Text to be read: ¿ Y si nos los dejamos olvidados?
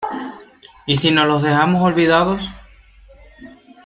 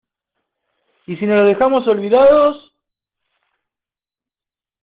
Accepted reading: first